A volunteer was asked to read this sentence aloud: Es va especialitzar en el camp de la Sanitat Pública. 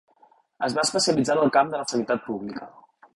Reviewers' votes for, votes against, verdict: 2, 0, accepted